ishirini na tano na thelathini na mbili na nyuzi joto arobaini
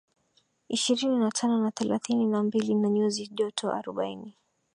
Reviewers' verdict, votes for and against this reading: accepted, 4, 2